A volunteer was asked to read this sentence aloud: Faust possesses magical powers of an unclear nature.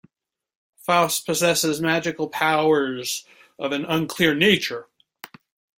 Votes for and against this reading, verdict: 2, 0, accepted